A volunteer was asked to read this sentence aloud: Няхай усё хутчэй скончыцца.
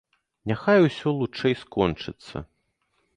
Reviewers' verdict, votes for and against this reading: rejected, 1, 2